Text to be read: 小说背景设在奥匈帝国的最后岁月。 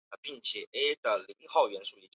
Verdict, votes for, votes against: rejected, 0, 4